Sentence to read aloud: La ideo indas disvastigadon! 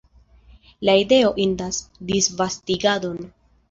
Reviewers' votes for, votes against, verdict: 2, 0, accepted